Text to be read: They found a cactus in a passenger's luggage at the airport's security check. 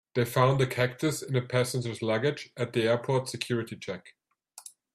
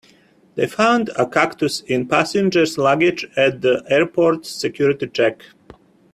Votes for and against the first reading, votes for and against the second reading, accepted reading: 2, 1, 0, 2, first